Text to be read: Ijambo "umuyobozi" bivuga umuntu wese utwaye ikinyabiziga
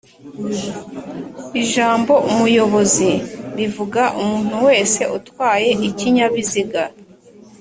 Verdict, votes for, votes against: accepted, 2, 0